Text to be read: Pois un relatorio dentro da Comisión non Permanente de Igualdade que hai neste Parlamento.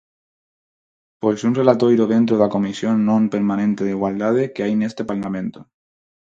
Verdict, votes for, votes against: rejected, 0, 4